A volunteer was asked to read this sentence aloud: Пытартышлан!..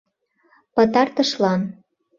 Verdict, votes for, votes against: accepted, 2, 0